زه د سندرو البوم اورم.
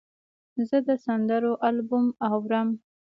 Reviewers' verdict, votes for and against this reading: accepted, 2, 0